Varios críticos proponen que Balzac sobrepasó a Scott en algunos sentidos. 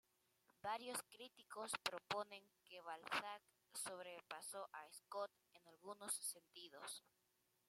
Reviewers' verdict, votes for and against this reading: rejected, 0, 2